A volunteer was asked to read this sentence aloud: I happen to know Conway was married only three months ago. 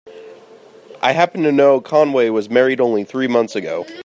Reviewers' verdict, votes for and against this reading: accepted, 2, 0